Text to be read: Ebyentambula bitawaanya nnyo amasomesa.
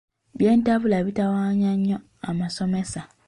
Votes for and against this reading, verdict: 0, 2, rejected